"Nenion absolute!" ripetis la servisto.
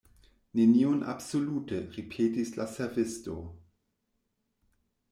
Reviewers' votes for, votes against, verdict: 2, 0, accepted